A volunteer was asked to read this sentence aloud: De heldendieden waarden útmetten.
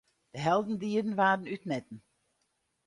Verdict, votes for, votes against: accepted, 4, 0